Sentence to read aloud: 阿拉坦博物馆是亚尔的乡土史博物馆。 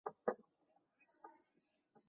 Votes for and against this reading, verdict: 0, 2, rejected